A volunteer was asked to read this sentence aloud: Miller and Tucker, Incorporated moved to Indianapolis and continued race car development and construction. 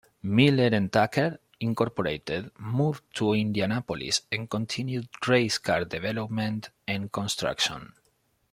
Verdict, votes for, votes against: accepted, 2, 0